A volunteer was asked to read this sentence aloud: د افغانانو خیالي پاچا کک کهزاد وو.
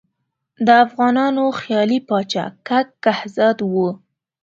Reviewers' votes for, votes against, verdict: 2, 0, accepted